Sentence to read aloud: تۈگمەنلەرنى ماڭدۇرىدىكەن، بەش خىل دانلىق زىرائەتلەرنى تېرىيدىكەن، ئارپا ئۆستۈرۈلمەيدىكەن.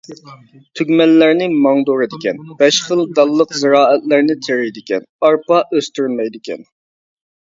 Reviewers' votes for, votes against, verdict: 1, 2, rejected